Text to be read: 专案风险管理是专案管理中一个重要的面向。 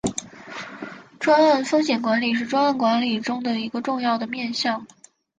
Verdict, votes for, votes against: accepted, 4, 1